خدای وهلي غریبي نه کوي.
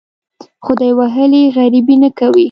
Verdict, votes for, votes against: accepted, 2, 0